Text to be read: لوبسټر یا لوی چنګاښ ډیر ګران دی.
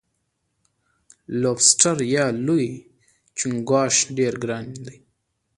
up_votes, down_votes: 2, 1